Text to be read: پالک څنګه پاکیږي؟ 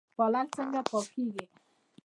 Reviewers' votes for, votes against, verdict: 1, 2, rejected